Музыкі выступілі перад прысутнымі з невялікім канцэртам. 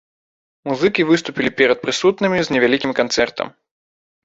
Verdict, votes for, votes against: accepted, 3, 0